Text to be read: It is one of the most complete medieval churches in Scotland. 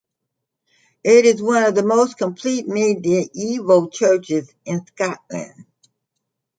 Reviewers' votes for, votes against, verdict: 0, 2, rejected